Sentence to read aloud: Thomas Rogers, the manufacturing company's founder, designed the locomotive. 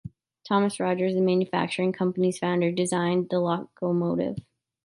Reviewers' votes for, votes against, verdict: 0, 2, rejected